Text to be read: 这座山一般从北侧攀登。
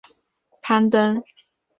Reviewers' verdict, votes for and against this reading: rejected, 0, 2